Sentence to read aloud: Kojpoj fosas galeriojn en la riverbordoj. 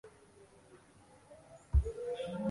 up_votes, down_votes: 1, 2